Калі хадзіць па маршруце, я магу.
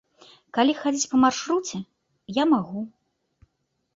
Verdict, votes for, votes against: accepted, 2, 0